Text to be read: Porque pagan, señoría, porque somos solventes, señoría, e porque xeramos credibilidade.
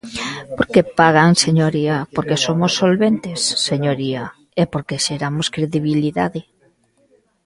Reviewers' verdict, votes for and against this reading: rejected, 1, 2